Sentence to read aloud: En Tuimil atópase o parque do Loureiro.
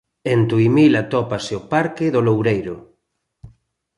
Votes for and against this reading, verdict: 2, 0, accepted